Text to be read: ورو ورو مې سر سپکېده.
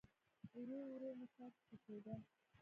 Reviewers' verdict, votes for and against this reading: rejected, 1, 2